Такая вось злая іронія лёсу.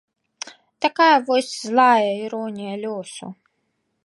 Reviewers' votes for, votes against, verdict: 3, 0, accepted